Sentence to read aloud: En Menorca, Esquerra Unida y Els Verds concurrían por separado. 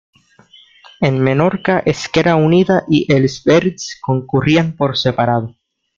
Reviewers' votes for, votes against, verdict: 2, 1, accepted